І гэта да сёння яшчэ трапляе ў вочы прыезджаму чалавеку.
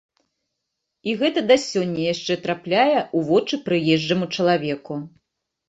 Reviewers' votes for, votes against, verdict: 2, 0, accepted